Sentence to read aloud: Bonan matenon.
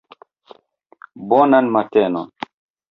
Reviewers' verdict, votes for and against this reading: accepted, 2, 0